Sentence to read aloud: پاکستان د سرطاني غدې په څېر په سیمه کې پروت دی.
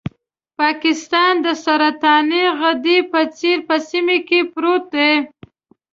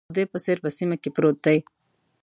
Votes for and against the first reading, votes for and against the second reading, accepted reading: 2, 0, 0, 2, first